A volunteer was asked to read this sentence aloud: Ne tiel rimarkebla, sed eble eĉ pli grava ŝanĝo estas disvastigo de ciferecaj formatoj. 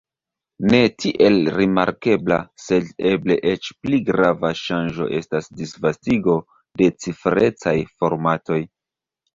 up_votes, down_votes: 2, 1